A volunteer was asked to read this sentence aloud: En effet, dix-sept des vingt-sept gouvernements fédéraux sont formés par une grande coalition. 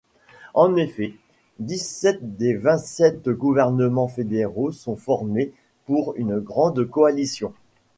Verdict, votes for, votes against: rejected, 0, 2